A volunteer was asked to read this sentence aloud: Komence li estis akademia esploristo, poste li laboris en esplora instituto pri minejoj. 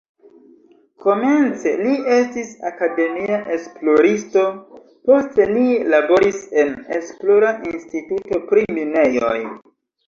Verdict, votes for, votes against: accepted, 2, 0